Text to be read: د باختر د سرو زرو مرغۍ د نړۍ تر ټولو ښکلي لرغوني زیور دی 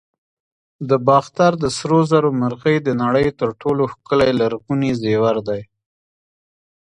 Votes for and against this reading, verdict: 0, 2, rejected